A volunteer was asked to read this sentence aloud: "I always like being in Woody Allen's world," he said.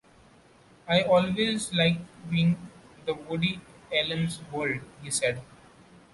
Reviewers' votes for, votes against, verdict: 2, 0, accepted